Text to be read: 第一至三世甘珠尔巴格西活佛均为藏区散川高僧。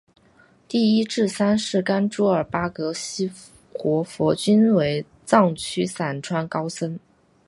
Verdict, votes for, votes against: accepted, 4, 0